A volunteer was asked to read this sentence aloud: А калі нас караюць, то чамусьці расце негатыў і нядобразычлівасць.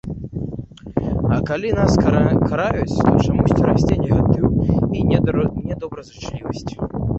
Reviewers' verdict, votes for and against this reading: rejected, 0, 2